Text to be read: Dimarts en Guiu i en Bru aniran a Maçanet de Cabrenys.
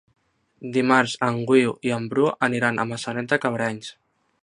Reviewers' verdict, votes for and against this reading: rejected, 0, 2